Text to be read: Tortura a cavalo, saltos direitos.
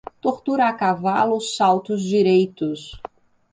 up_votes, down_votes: 2, 0